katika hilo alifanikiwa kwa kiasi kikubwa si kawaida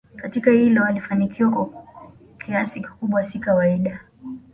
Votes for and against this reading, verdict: 2, 0, accepted